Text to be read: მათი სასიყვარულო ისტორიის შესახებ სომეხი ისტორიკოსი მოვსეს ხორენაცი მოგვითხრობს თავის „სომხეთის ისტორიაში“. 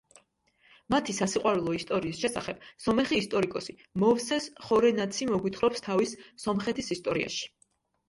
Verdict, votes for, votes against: accepted, 2, 0